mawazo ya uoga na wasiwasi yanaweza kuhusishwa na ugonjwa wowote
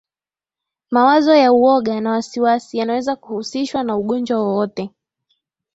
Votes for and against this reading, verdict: 6, 1, accepted